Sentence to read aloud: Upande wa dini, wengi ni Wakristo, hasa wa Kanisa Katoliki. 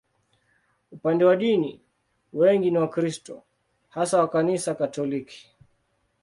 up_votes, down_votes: 2, 0